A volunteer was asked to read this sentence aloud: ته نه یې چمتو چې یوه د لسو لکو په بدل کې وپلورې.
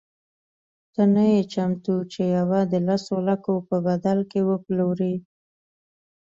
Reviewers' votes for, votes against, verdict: 3, 0, accepted